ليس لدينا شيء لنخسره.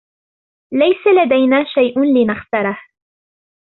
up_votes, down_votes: 2, 0